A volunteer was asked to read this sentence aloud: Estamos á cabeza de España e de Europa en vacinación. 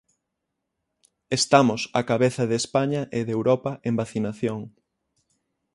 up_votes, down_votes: 6, 0